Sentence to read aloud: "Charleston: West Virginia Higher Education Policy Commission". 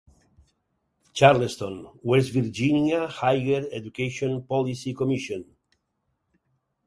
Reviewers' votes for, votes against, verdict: 4, 2, accepted